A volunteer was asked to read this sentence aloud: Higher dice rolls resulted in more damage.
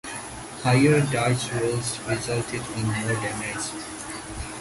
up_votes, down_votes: 2, 0